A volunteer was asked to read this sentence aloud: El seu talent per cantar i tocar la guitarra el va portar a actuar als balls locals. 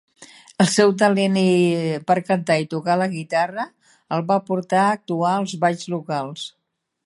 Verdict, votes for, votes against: rejected, 0, 2